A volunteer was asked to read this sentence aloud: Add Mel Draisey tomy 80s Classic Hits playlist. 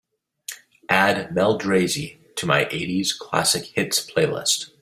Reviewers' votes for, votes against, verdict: 0, 2, rejected